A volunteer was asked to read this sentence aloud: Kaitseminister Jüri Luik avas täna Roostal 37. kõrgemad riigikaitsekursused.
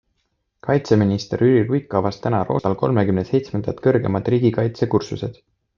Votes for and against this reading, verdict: 0, 2, rejected